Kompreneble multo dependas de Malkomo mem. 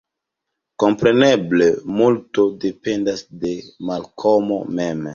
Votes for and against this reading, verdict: 1, 2, rejected